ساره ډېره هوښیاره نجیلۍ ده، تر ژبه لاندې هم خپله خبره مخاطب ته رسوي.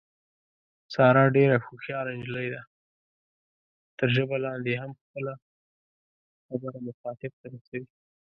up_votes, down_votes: 1, 2